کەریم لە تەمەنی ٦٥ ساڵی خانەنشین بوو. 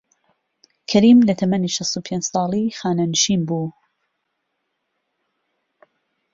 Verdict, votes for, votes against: rejected, 0, 2